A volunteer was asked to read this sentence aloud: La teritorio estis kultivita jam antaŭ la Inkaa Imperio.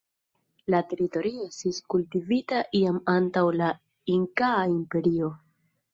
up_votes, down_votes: 0, 2